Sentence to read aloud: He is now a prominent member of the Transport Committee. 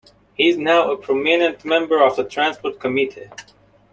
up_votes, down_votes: 1, 2